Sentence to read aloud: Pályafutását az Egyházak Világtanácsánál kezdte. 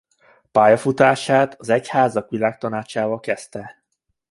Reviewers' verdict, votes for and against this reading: rejected, 0, 2